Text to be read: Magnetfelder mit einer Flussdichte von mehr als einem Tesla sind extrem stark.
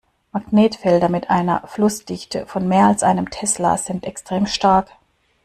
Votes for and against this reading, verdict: 2, 0, accepted